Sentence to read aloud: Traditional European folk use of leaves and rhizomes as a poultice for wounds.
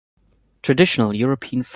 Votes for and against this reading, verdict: 1, 2, rejected